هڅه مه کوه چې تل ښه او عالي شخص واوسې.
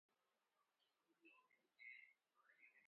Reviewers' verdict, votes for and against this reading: rejected, 0, 2